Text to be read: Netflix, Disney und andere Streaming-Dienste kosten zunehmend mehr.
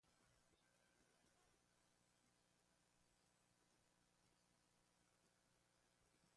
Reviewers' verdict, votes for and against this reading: rejected, 0, 2